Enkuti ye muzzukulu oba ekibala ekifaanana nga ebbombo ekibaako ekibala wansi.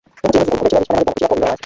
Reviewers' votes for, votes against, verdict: 0, 2, rejected